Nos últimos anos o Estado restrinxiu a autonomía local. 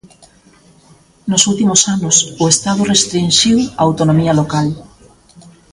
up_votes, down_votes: 0, 2